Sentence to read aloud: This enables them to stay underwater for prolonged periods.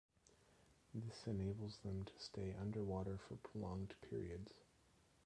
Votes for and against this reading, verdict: 1, 2, rejected